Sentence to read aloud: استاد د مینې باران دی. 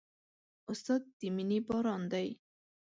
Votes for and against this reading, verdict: 0, 2, rejected